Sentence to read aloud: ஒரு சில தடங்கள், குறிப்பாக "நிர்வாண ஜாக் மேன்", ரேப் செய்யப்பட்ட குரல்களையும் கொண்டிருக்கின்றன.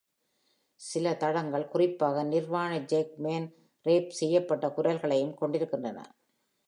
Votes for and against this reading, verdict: 1, 2, rejected